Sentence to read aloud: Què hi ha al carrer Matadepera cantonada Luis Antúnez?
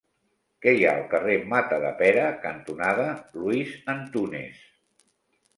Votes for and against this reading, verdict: 2, 0, accepted